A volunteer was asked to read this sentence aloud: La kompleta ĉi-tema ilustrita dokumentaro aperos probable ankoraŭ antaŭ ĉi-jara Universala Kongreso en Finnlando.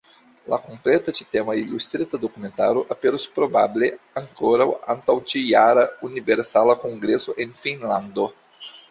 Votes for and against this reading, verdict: 2, 1, accepted